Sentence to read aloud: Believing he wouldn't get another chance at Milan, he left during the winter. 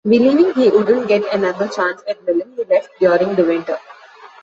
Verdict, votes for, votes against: rejected, 0, 2